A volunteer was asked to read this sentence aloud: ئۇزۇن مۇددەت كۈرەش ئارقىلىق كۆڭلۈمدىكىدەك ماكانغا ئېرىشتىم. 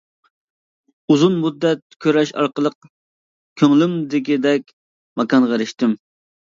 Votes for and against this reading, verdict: 2, 0, accepted